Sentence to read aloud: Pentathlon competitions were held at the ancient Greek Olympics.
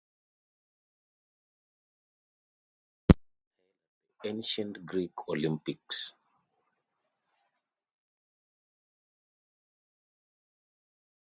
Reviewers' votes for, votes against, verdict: 0, 2, rejected